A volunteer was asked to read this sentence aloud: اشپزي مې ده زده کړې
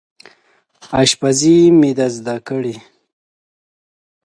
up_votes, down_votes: 2, 0